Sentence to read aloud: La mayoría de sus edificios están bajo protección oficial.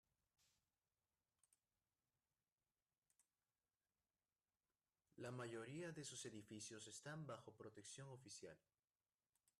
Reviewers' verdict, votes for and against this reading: rejected, 1, 2